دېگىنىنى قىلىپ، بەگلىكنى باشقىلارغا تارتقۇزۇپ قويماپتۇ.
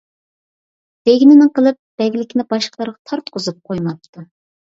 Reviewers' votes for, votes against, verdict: 2, 0, accepted